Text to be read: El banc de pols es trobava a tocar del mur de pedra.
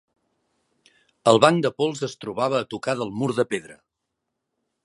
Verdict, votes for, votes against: accepted, 7, 0